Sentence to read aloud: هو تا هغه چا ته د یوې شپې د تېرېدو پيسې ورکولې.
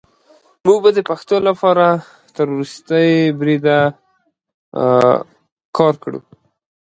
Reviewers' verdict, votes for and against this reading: rejected, 0, 2